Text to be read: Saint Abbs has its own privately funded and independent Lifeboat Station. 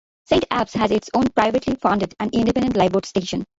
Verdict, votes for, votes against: accepted, 2, 0